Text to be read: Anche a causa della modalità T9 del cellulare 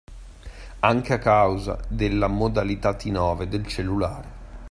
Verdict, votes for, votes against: rejected, 0, 2